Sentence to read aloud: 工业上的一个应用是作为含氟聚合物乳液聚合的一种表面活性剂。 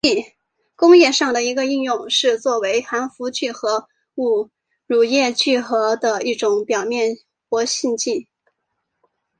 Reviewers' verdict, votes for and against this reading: rejected, 0, 2